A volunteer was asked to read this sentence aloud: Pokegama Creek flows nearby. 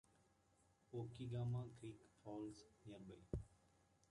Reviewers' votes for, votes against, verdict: 1, 2, rejected